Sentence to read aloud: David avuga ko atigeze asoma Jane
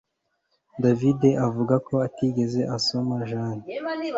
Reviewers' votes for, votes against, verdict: 2, 0, accepted